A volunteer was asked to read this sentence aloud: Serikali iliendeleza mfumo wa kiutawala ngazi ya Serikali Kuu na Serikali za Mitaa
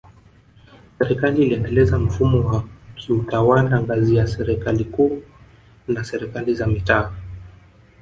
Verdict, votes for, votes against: accepted, 2, 0